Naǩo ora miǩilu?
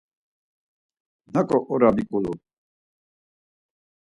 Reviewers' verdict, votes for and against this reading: accepted, 4, 2